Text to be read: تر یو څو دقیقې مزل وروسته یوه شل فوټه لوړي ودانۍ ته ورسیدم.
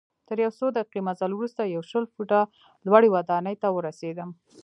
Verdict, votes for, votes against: rejected, 1, 2